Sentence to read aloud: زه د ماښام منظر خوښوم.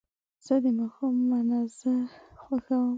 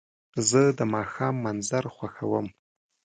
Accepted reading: second